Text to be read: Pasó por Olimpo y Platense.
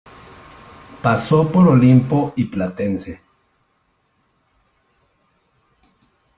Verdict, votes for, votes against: accepted, 2, 0